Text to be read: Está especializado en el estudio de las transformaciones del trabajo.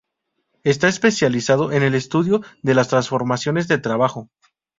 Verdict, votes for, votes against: rejected, 0, 2